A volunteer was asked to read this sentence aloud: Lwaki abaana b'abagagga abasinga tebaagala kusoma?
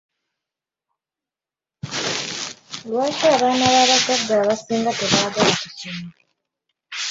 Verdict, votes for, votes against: rejected, 1, 2